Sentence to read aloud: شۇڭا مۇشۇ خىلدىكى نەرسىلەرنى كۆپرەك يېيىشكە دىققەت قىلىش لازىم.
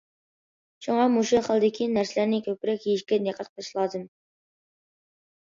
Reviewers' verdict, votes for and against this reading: accepted, 2, 0